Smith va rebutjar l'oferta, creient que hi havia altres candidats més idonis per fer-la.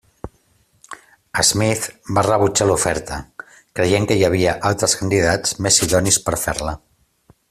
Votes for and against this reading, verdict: 2, 0, accepted